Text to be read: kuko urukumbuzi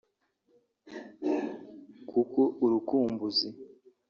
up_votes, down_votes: 3, 0